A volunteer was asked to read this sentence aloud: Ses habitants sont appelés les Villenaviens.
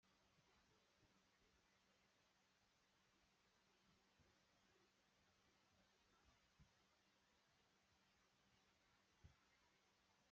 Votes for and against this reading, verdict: 0, 2, rejected